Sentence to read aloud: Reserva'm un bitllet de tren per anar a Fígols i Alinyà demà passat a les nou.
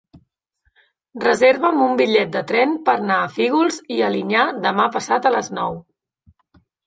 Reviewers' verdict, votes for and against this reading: rejected, 1, 2